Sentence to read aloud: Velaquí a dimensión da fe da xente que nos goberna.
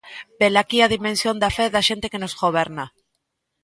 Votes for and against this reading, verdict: 2, 0, accepted